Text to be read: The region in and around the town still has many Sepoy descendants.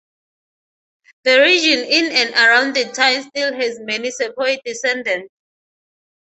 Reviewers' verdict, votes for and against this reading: rejected, 0, 3